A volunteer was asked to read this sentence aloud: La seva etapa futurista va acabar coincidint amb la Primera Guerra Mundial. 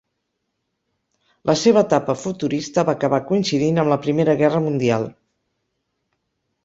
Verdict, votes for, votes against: accepted, 6, 0